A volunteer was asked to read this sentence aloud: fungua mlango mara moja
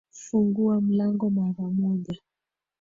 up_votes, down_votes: 1, 2